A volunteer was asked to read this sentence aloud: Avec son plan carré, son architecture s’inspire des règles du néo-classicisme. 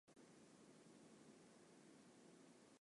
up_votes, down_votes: 0, 2